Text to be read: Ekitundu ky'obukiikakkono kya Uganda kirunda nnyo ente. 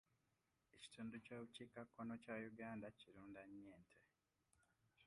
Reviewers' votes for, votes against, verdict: 2, 0, accepted